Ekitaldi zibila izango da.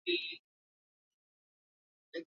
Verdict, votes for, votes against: rejected, 0, 4